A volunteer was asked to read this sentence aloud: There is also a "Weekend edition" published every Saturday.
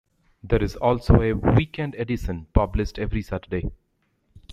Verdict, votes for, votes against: rejected, 0, 2